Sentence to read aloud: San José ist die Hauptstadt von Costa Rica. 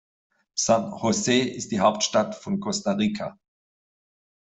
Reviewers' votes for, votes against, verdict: 3, 0, accepted